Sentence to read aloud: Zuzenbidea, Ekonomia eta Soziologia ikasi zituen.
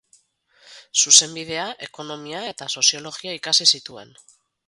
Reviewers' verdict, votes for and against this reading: rejected, 2, 2